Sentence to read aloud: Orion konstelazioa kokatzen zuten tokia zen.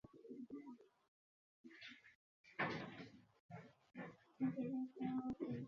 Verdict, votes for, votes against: rejected, 0, 4